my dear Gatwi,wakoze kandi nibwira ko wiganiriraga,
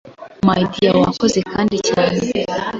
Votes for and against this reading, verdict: 1, 2, rejected